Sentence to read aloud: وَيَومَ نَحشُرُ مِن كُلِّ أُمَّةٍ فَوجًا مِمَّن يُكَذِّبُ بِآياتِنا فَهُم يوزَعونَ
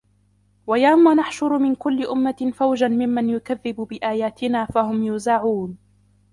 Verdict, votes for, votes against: rejected, 1, 2